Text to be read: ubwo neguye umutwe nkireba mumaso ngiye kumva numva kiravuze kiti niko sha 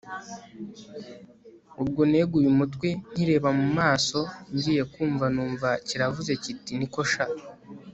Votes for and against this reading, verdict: 3, 0, accepted